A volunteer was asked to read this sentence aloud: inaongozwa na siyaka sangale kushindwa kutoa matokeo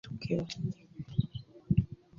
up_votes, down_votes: 0, 3